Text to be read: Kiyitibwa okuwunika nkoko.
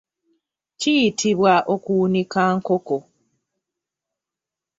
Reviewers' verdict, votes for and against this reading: accepted, 2, 0